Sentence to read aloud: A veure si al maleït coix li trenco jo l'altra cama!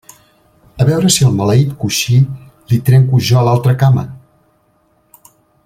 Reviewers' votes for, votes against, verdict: 0, 2, rejected